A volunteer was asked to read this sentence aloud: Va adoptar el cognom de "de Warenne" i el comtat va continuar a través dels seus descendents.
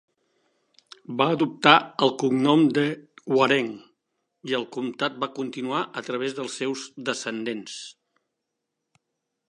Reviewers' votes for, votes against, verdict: 1, 2, rejected